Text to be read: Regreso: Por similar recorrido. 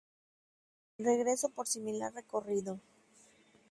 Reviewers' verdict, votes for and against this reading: accepted, 2, 0